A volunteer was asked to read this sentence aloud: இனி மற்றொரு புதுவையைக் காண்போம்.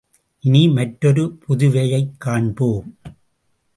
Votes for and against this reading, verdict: 2, 0, accepted